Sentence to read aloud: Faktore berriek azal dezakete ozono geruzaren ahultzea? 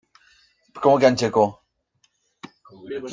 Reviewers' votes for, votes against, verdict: 0, 2, rejected